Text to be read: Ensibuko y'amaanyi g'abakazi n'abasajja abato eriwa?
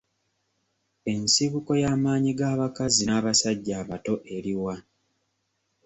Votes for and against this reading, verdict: 2, 0, accepted